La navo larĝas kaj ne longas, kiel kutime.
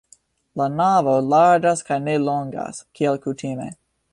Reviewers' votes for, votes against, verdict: 2, 0, accepted